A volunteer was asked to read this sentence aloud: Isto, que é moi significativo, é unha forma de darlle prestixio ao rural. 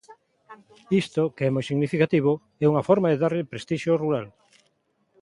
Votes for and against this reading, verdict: 0, 2, rejected